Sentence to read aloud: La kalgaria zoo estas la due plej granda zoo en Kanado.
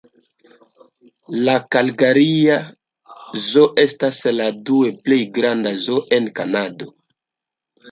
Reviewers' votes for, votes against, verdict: 1, 2, rejected